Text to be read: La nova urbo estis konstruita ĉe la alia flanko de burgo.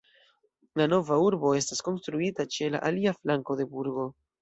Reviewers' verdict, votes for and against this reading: accepted, 2, 0